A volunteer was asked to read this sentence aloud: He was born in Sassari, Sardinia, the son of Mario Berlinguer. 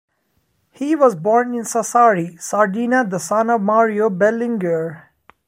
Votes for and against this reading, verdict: 2, 1, accepted